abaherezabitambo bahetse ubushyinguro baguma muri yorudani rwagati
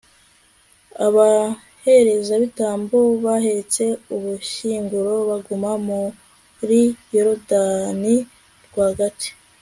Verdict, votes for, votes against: accepted, 2, 0